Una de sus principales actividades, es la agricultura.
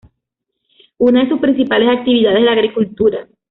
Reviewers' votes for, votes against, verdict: 2, 1, accepted